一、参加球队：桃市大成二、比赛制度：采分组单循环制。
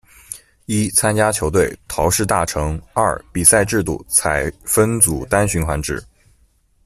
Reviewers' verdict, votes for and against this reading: accepted, 2, 0